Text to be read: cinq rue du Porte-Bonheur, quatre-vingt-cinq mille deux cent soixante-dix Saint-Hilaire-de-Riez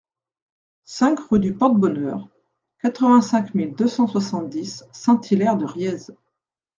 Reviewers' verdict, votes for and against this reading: accepted, 2, 0